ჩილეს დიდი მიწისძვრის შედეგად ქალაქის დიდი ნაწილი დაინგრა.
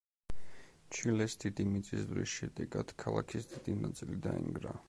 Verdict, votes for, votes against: accepted, 2, 0